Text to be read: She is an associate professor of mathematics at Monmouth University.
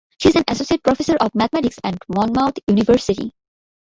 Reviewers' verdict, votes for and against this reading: accepted, 2, 1